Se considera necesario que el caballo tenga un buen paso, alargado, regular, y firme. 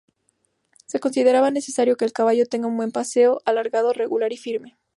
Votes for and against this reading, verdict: 2, 0, accepted